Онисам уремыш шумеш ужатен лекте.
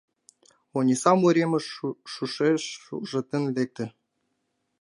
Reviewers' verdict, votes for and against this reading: rejected, 0, 2